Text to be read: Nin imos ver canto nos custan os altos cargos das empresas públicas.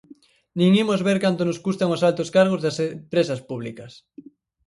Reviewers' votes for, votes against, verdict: 2, 2, rejected